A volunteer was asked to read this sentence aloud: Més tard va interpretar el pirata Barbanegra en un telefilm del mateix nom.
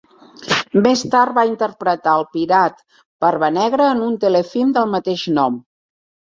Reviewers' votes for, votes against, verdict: 0, 2, rejected